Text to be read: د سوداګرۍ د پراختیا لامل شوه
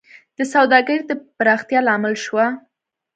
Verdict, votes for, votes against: accepted, 2, 0